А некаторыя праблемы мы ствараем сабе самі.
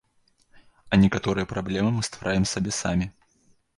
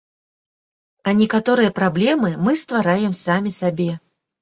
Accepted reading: first